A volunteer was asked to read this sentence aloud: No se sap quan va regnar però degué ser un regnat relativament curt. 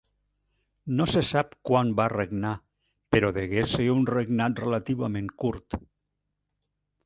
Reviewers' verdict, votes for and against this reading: accepted, 3, 0